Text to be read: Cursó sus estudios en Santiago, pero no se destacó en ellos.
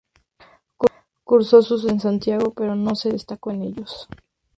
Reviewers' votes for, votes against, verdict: 0, 2, rejected